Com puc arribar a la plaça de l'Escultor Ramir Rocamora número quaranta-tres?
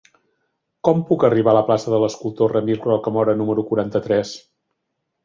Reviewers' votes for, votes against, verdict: 3, 0, accepted